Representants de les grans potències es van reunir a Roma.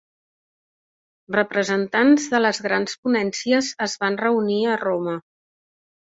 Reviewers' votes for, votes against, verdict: 1, 4, rejected